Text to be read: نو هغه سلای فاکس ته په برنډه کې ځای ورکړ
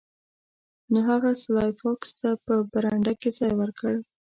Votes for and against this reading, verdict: 1, 2, rejected